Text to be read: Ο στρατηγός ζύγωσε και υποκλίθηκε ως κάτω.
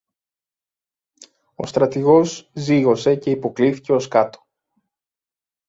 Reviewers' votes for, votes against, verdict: 2, 0, accepted